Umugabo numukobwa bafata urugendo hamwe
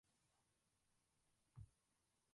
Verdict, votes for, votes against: rejected, 0, 2